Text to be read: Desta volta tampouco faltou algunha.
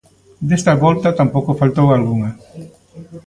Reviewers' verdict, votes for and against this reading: rejected, 1, 2